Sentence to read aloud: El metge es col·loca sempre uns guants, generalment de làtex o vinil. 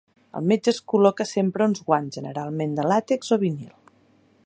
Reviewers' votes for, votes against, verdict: 3, 0, accepted